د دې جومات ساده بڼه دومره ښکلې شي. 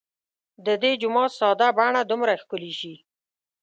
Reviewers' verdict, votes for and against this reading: accepted, 2, 0